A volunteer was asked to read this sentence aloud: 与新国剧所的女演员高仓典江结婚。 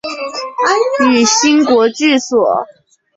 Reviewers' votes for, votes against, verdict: 1, 2, rejected